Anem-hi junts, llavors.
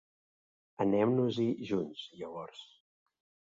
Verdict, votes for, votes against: rejected, 2, 3